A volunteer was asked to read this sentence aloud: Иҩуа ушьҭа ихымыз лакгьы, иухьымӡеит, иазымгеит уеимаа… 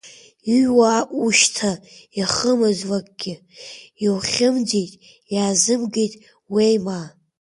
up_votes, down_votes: 1, 2